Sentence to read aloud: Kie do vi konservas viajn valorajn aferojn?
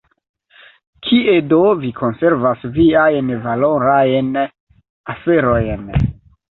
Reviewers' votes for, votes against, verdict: 0, 2, rejected